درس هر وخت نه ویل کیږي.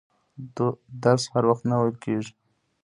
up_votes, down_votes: 2, 1